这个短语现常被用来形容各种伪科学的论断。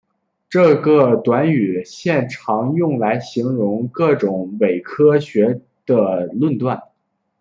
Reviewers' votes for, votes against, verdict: 0, 3, rejected